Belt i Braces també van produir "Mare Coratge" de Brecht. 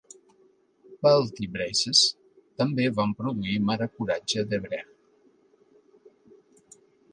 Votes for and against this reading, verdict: 2, 0, accepted